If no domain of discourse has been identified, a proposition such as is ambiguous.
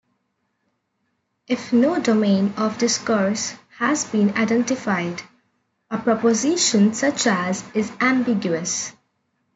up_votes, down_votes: 1, 2